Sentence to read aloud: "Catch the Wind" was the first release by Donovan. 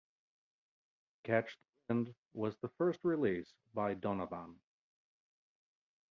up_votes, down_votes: 1, 3